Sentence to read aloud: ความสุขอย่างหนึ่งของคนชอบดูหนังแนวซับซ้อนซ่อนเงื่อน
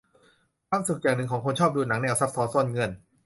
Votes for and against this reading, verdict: 1, 2, rejected